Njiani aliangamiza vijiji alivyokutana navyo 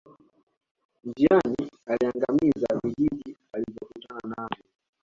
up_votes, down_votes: 1, 2